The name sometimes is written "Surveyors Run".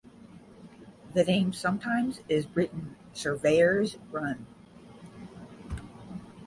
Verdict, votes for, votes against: accepted, 10, 0